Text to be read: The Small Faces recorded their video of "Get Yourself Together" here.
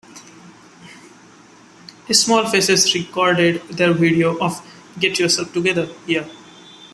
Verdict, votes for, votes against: accepted, 3, 0